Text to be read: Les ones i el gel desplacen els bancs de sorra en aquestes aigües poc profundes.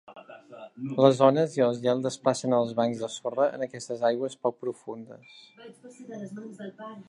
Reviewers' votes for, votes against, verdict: 0, 2, rejected